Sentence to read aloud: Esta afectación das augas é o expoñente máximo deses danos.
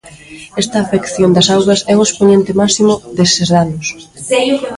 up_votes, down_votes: 0, 2